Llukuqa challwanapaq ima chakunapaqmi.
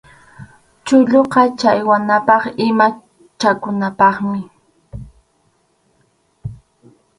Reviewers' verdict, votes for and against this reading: rejected, 0, 4